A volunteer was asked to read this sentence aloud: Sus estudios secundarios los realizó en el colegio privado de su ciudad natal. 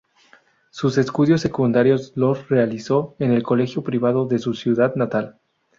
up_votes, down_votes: 2, 0